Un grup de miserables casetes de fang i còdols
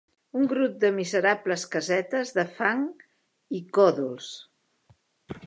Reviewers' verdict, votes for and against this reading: accepted, 2, 0